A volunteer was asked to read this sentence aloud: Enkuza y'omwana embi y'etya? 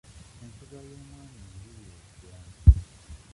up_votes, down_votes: 0, 2